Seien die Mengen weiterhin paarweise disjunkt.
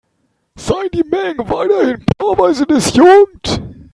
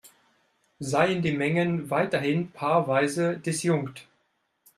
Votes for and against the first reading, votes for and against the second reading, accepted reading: 1, 3, 3, 1, second